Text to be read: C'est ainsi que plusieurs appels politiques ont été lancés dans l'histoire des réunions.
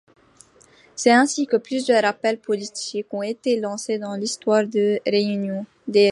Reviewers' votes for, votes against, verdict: 0, 2, rejected